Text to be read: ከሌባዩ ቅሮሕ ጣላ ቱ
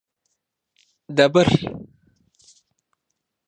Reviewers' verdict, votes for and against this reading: rejected, 0, 2